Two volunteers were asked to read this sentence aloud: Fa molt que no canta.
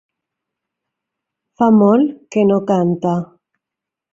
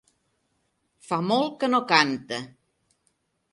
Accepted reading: second